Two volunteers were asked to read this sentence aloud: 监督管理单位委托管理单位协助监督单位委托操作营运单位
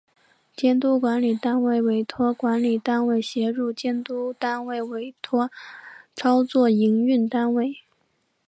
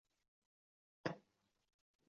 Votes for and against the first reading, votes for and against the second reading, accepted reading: 3, 0, 0, 2, first